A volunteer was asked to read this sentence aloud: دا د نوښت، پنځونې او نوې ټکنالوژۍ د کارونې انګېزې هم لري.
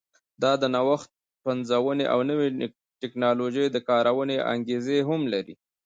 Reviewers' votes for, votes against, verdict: 1, 2, rejected